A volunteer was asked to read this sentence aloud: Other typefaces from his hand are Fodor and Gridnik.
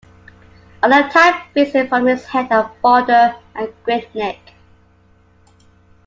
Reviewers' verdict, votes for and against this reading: rejected, 1, 2